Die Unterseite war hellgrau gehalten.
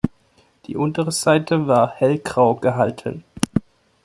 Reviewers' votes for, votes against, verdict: 1, 2, rejected